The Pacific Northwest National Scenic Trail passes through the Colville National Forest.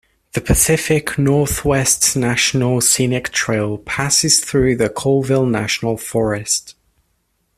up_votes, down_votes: 2, 0